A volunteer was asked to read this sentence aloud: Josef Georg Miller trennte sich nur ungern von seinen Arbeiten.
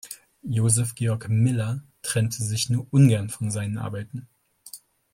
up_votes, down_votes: 2, 0